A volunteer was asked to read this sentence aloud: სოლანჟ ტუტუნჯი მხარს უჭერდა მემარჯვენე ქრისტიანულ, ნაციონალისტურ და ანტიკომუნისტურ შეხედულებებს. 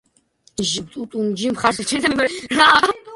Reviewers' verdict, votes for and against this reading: rejected, 0, 2